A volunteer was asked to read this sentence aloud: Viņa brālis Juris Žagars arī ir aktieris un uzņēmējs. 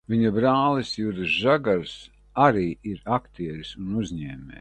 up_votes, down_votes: 0, 2